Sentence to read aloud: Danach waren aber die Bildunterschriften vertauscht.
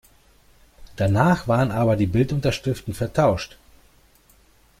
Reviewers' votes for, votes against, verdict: 2, 0, accepted